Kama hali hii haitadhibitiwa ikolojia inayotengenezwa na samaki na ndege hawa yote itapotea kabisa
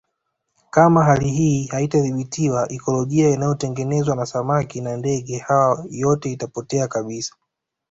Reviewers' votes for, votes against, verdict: 2, 0, accepted